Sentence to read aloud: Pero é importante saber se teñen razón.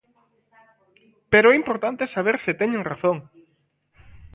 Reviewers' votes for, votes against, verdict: 2, 1, accepted